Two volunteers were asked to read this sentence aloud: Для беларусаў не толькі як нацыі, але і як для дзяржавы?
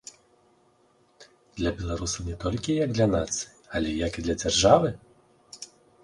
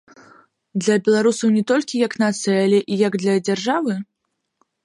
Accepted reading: second